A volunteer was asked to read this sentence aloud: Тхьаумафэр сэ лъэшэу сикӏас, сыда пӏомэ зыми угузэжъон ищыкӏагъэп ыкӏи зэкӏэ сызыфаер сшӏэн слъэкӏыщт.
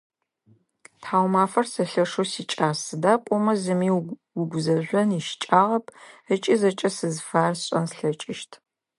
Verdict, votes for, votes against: accepted, 2, 0